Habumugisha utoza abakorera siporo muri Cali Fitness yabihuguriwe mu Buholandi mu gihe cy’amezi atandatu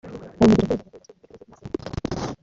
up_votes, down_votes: 0, 2